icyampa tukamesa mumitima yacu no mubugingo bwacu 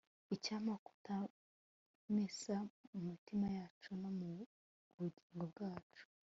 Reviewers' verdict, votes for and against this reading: rejected, 0, 2